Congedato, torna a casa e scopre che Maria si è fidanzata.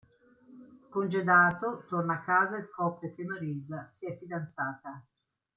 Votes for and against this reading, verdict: 0, 2, rejected